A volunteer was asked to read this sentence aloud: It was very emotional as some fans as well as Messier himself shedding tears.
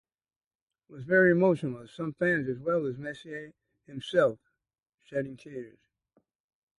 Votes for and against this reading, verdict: 2, 0, accepted